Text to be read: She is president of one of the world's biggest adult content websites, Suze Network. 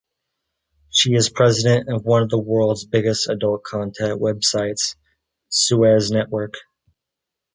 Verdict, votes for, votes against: rejected, 0, 2